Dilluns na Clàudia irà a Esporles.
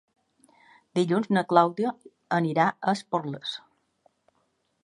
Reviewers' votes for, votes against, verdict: 1, 2, rejected